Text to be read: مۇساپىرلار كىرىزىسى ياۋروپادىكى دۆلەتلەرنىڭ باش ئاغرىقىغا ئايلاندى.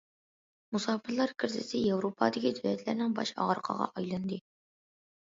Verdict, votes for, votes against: accepted, 2, 0